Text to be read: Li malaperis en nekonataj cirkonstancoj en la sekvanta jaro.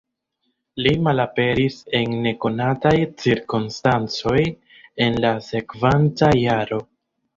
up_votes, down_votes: 2, 0